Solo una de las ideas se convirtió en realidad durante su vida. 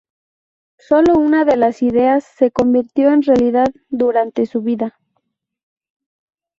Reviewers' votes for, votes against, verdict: 2, 2, rejected